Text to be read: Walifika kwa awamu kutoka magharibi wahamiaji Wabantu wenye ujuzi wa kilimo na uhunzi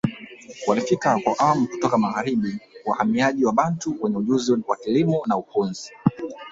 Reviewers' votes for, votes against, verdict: 0, 2, rejected